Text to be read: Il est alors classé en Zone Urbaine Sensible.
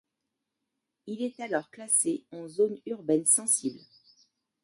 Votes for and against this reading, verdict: 2, 1, accepted